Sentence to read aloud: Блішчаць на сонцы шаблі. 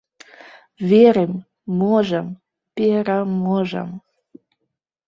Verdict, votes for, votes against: rejected, 0, 2